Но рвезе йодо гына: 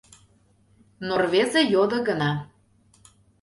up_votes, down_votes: 2, 0